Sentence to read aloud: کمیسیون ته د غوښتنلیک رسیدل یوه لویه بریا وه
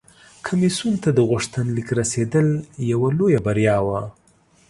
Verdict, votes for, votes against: accepted, 2, 0